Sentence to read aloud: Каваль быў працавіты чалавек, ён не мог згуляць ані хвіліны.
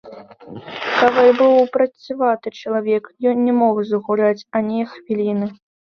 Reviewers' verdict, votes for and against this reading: rejected, 1, 2